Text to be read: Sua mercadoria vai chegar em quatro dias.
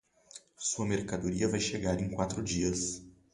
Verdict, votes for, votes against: accepted, 2, 0